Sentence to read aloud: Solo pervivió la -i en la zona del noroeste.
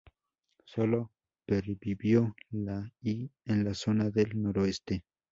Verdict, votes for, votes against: accepted, 2, 0